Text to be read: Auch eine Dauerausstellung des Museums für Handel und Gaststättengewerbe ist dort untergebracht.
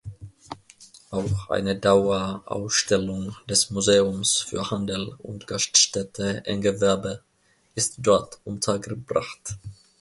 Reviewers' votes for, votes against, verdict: 0, 2, rejected